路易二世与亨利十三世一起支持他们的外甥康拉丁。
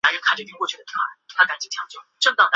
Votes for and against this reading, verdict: 1, 3, rejected